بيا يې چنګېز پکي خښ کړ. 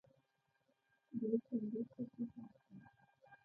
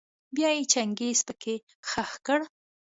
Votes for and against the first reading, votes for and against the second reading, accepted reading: 0, 2, 2, 0, second